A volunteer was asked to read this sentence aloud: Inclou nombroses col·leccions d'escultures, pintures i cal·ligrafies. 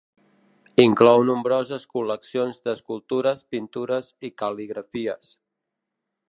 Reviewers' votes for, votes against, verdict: 2, 0, accepted